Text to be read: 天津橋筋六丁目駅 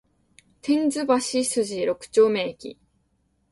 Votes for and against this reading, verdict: 2, 0, accepted